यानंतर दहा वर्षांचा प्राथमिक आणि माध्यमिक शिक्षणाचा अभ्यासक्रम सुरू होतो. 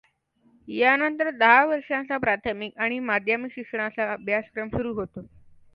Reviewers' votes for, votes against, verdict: 2, 0, accepted